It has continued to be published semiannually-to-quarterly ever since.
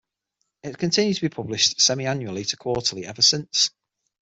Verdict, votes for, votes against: rejected, 3, 6